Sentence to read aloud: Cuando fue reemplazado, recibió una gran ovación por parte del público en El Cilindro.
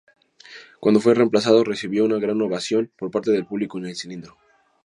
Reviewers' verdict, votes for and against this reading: accepted, 6, 2